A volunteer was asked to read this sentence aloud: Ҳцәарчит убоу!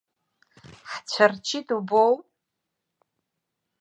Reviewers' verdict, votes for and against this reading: accepted, 2, 0